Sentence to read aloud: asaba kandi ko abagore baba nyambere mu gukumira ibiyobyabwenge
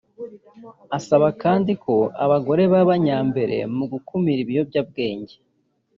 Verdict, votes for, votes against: accepted, 2, 0